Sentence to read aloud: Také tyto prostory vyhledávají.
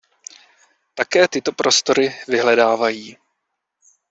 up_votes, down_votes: 2, 0